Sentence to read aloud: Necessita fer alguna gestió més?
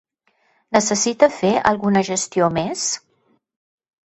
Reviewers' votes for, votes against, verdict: 2, 0, accepted